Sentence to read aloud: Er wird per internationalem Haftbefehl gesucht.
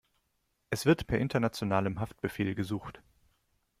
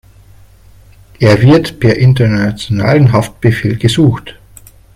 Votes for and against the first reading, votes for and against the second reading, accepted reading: 1, 2, 3, 1, second